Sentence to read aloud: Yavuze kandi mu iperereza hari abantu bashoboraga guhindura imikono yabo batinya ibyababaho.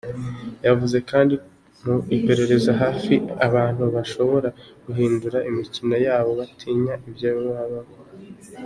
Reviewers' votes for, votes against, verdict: 1, 2, rejected